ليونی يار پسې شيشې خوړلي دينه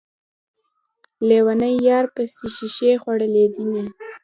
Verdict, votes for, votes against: rejected, 1, 2